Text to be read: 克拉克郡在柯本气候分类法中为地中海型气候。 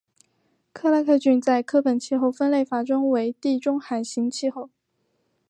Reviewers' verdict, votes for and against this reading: accepted, 4, 0